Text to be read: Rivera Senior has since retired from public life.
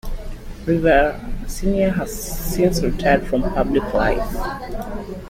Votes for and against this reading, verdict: 2, 1, accepted